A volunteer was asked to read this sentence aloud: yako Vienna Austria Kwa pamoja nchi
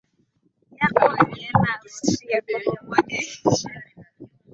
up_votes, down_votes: 1, 2